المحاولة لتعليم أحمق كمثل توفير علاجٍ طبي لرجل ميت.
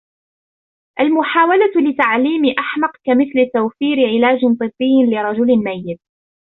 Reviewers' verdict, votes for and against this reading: rejected, 1, 2